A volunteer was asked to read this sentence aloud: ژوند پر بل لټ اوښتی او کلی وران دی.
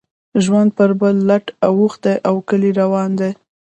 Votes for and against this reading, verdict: 1, 2, rejected